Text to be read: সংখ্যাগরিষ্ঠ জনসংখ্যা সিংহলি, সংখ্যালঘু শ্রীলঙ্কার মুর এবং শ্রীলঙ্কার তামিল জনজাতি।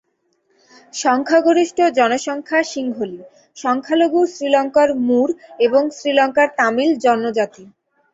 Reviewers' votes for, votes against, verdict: 2, 0, accepted